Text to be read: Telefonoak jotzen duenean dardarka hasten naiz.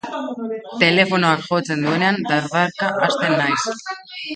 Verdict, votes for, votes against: accepted, 2, 0